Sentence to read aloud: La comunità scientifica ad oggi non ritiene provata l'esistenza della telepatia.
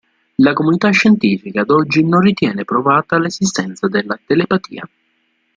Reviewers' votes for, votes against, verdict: 2, 0, accepted